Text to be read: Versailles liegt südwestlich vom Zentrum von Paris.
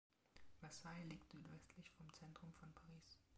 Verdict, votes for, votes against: rejected, 1, 2